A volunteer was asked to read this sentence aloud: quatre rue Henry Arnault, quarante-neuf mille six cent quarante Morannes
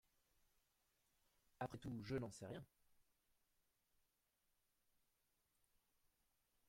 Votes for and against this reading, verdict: 0, 2, rejected